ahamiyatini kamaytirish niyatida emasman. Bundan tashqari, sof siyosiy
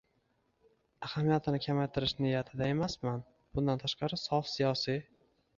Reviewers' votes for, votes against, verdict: 2, 1, accepted